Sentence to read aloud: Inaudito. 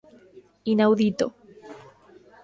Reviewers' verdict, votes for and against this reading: rejected, 1, 2